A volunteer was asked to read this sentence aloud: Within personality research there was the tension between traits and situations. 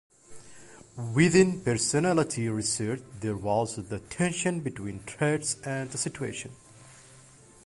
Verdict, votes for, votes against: rejected, 1, 2